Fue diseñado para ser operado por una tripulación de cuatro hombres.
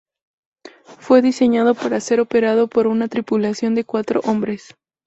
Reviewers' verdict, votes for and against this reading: accepted, 2, 0